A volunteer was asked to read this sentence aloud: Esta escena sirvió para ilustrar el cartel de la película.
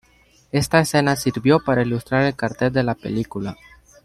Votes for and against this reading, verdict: 2, 0, accepted